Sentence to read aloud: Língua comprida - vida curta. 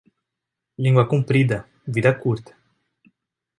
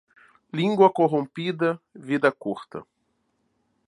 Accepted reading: first